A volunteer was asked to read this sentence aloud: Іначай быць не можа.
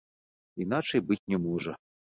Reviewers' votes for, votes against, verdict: 1, 2, rejected